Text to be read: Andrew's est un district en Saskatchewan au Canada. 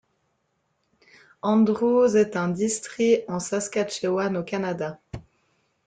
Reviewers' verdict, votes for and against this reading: rejected, 1, 2